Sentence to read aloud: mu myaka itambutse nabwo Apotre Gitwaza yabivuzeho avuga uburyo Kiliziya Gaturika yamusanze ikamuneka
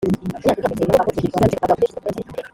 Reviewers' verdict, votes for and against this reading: rejected, 0, 2